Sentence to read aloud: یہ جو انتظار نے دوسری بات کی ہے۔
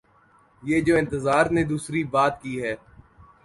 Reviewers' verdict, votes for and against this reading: accepted, 2, 0